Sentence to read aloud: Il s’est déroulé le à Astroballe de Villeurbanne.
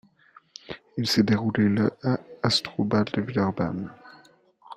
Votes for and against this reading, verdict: 2, 0, accepted